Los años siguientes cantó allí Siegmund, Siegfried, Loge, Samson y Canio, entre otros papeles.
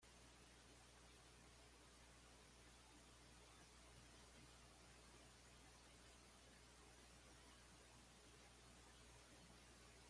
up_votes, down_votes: 1, 2